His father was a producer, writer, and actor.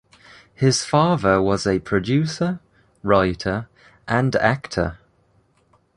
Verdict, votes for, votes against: accepted, 2, 0